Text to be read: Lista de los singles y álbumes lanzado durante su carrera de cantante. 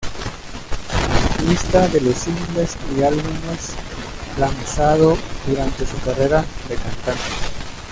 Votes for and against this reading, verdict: 1, 2, rejected